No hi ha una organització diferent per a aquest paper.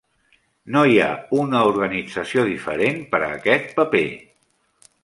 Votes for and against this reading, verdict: 3, 0, accepted